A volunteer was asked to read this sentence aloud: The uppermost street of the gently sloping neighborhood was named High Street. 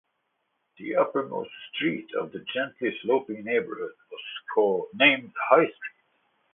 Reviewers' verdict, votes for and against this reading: rejected, 0, 2